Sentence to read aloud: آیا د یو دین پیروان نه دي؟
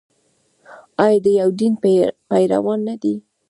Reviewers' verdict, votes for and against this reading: accepted, 2, 0